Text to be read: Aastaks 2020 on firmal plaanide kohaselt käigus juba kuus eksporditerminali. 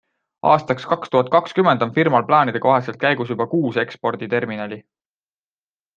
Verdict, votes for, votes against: rejected, 0, 2